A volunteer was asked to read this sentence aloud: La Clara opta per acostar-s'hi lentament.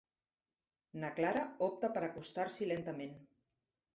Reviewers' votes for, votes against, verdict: 1, 2, rejected